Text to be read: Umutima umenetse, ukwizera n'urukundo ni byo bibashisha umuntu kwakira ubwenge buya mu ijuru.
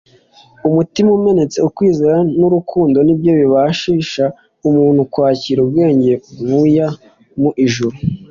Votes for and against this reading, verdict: 2, 0, accepted